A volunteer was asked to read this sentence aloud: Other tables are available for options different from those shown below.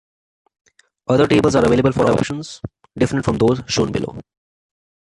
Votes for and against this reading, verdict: 2, 1, accepted